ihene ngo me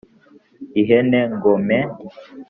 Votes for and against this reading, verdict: 3, 0, accepted